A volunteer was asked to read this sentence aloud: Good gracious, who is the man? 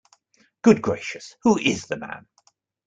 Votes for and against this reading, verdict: 2, 0, accepted